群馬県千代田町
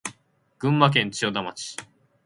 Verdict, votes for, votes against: accepted, 8, 0